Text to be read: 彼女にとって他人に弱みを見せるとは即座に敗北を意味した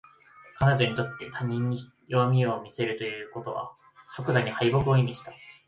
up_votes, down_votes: 0, 2